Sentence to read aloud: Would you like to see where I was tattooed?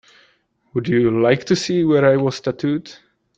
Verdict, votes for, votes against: accepted, 2, 0